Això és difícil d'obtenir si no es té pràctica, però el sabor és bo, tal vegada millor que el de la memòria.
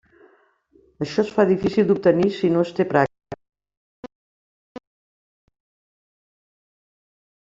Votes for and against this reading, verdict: 0, 2, rejected